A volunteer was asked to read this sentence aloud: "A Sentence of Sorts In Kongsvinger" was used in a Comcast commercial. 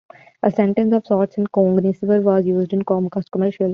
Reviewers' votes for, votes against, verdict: 0, 2, rejected